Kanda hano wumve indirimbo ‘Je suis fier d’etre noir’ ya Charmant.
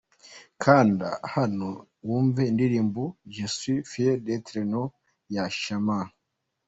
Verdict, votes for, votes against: accepted, 2, 1